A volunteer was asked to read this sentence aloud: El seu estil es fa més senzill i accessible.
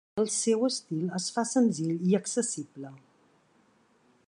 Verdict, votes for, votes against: rejected, 0, 2